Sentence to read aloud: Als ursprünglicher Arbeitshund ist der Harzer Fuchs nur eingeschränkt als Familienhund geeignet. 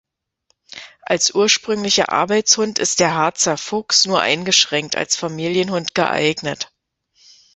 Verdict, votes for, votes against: accepted, 2, 0